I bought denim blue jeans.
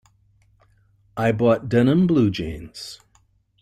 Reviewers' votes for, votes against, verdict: 2, 1, accepted